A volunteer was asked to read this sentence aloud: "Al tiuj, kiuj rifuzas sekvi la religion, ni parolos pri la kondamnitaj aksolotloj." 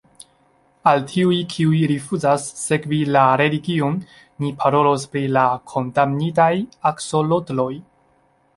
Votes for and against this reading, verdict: 2, 0, accepted